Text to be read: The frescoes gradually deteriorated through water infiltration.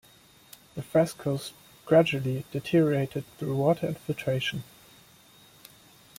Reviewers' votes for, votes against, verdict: 2, 0, accepted